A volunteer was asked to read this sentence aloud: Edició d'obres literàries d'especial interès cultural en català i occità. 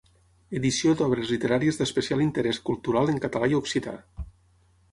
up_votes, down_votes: 6, 0